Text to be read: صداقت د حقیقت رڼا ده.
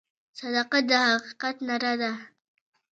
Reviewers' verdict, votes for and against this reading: rejected, 1, 2